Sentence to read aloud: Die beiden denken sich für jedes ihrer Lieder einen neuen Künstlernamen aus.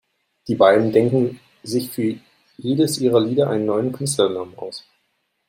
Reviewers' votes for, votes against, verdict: 1, 2, rejected